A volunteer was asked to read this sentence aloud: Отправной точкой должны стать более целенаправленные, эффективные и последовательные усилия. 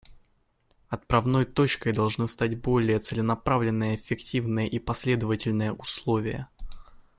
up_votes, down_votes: 1, 2